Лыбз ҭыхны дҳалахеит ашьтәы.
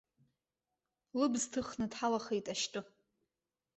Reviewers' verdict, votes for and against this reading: rejected, 1, 2